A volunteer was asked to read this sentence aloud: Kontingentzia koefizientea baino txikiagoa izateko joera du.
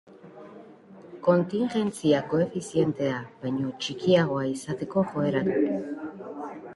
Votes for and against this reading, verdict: 1, 2, rejected